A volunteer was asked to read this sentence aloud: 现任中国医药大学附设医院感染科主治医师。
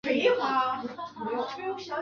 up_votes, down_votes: 0, 2